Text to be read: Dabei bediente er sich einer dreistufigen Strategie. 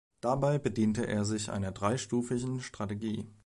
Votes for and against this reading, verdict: 1, 2, rejected